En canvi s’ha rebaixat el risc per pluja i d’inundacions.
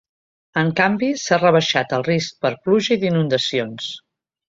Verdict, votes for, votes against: accepted, 2, 0